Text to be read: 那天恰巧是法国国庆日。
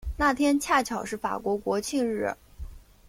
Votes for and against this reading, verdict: 2, 0, accepted